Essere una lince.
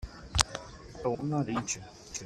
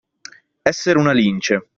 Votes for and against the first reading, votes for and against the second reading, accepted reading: 0, 2, 2, 0, second